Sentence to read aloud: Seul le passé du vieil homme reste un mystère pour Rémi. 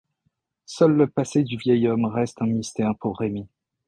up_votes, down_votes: 2, 0